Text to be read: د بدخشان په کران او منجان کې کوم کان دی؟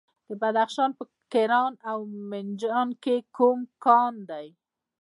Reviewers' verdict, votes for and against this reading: rejected, 1, 2